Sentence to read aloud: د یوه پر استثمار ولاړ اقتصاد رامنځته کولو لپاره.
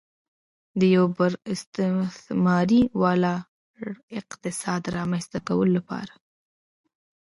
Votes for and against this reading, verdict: 2, 3, rejected